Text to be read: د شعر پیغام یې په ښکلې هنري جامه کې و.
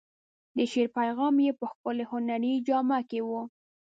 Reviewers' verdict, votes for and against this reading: rejected, 0, 2